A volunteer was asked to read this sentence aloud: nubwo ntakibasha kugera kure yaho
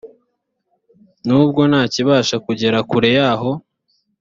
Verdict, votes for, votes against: accepted, 4, 0